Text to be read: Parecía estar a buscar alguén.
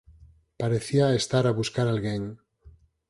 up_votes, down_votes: 4, 0